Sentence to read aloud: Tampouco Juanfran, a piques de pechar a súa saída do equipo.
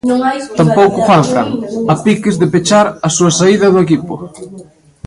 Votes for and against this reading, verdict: 0, 2, rejected